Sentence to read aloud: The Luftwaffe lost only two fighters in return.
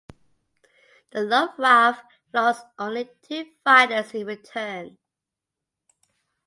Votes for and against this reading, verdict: 1, 2, rejected